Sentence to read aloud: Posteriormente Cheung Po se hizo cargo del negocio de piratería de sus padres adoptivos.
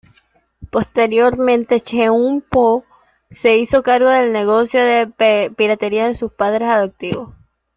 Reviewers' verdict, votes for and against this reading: accepted, 2, 0